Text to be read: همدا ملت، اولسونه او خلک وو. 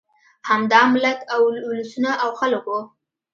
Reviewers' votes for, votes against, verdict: 2, 0, accepted